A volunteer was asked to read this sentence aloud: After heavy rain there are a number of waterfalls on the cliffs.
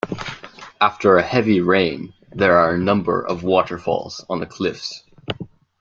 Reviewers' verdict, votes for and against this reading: accepted, 2, 0